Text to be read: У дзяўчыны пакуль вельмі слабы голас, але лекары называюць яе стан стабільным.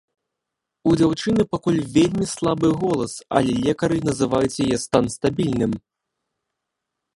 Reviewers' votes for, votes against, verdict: 1, 2, rejected